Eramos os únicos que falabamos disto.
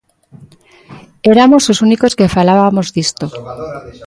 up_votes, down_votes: 0, 2